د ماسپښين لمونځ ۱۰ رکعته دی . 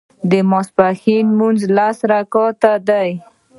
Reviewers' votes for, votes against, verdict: 0, 2, rejected